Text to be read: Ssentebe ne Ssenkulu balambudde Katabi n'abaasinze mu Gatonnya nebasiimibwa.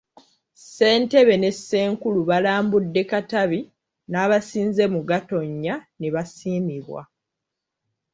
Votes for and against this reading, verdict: 2, 0, accepted